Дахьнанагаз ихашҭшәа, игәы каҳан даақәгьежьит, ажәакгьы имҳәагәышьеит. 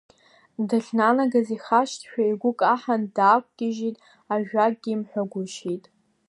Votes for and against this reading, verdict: 2, 0, accepted